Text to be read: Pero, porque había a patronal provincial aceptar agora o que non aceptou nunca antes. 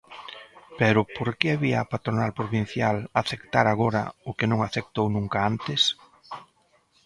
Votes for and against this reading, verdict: 2, 0, accepted